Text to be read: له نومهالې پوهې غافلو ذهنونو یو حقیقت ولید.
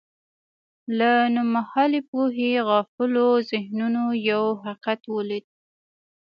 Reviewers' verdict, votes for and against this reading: accepted, 2, 0